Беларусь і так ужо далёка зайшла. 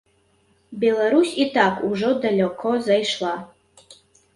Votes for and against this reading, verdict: 0, 3, rejected